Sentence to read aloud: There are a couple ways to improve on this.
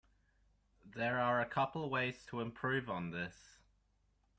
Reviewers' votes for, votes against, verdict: 3, 0, accepted